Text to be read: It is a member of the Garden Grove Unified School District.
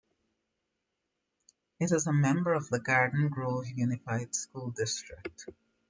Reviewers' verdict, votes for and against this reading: accepted, 2, 0